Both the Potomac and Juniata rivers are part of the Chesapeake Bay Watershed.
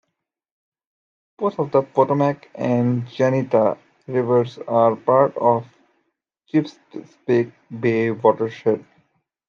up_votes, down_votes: 0, 2